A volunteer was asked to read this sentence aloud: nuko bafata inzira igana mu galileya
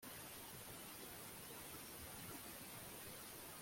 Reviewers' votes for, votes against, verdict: 0, 2, rejected